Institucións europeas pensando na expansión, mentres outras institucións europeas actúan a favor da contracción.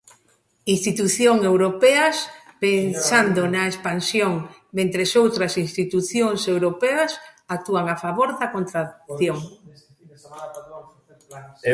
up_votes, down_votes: 0, 2